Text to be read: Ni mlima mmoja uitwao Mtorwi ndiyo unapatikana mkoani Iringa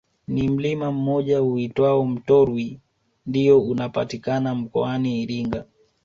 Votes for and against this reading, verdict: 2, 0, accepted